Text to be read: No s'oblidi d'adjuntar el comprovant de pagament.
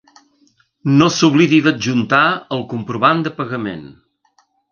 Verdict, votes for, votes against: accepted, 3, 0